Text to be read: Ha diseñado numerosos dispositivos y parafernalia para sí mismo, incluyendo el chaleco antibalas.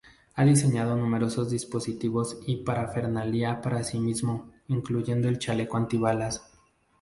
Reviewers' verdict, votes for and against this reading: rejected, 2, 2